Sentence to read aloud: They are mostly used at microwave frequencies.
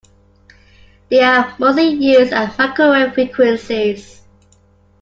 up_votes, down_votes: 0, 2